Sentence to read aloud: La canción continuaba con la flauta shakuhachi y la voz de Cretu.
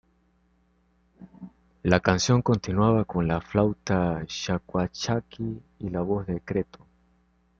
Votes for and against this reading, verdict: 0, 2, rejected